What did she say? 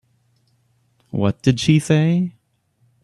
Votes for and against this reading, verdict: 2, 0, accepted